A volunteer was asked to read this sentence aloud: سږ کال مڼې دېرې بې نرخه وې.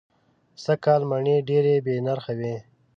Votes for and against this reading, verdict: 2, 0, accepted